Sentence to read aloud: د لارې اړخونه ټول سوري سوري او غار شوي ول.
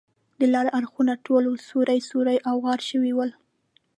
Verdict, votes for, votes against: rejected, 0, 2